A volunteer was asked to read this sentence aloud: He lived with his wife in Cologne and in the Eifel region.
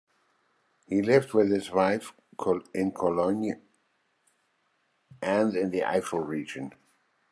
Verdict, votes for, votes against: rejected, 1, 2